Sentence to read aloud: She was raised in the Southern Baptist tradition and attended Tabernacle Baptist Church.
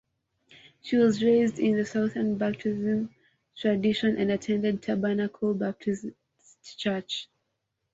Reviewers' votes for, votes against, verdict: 1, 2, rejected